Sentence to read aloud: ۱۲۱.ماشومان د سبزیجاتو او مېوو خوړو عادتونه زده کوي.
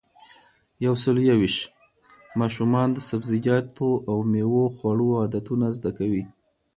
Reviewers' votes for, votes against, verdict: 0, 2, rejected